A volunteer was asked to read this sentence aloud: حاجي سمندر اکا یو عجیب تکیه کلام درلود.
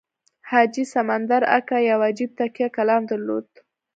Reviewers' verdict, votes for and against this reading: accepted, 2, 1